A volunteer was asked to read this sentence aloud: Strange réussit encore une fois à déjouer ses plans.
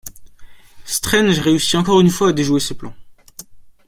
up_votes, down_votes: 2, 0